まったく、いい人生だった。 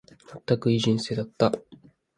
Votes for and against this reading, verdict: 2, 1, accepted